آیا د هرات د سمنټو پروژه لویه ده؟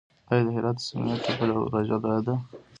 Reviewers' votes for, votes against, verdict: 0, 3, rejected